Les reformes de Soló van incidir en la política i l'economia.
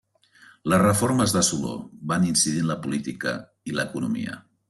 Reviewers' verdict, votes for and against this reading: accepted, 3, 0